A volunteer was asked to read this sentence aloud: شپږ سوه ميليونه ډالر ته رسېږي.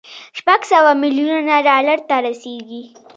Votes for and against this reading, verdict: 0, 2, rejected